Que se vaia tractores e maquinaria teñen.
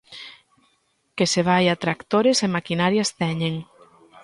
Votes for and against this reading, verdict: 0, 2, rejected